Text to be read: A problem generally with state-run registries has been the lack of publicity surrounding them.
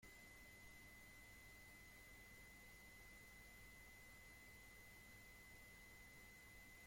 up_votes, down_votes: 0, 2